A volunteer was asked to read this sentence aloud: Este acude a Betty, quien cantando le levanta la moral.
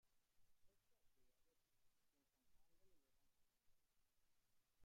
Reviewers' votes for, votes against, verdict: 0, 2, rejected